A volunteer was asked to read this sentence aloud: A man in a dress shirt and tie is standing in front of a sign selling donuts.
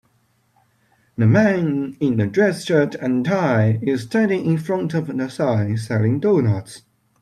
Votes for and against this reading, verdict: 2, 1, accepted